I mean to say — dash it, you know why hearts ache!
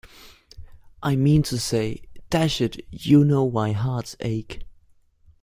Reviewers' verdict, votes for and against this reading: accepted, 2, 0